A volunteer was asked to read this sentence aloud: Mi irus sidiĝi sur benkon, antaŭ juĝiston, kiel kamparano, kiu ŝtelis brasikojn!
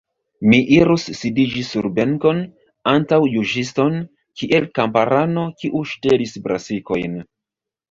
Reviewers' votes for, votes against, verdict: 0, 2, rejected